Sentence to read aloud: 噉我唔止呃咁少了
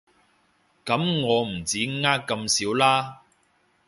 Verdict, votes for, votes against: accepted, 2, 1